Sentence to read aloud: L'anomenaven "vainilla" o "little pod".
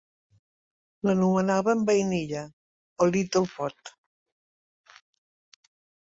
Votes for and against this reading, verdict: 2, 1, accepted